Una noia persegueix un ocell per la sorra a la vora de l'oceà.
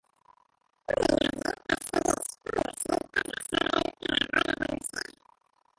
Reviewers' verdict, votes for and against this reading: rejected, 0, 2